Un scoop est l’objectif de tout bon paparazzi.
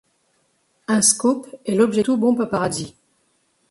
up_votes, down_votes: 0, 2